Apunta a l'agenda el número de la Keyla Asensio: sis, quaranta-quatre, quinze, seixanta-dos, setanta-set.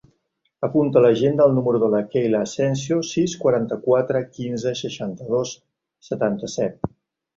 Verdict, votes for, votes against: accepted, 3, 1